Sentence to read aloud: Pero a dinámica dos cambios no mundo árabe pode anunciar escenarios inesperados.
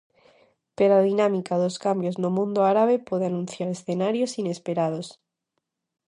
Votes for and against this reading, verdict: 2, 0, accepted